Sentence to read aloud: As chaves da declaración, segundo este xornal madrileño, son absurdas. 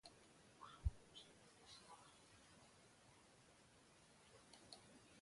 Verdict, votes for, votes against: rejected, 0, 2